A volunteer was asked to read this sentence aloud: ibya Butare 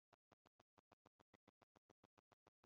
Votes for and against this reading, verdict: 0, 4, rejected